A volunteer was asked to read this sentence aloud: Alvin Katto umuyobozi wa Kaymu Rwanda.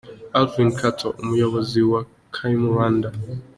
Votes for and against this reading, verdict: 2, 0, accepted